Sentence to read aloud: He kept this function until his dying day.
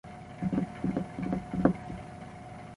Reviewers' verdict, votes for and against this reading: rejected, 0, 2